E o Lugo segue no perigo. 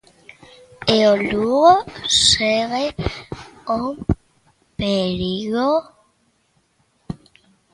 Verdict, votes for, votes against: rejected, 0, 2